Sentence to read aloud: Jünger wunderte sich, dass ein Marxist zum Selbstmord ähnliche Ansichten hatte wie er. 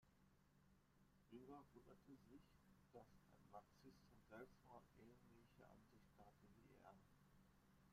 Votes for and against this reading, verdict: 0, 2, rejected